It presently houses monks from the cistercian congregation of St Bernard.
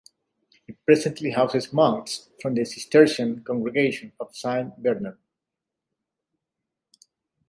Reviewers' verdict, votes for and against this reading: accepted, 2, 0